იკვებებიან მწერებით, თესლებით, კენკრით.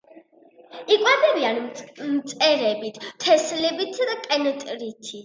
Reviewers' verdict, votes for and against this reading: rejected, 0, 3